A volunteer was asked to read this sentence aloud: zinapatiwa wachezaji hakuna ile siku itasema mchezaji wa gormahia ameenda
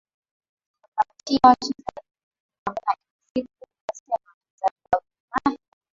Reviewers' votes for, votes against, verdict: 0, 2, rejected